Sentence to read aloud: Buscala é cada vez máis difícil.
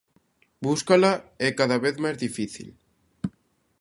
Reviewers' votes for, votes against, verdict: 0, 2, rejected